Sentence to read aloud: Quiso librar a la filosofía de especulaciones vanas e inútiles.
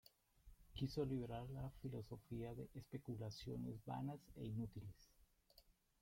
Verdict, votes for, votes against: rejected, 0, 2